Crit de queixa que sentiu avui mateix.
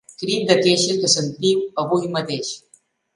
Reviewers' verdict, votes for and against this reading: rejected, 1, 2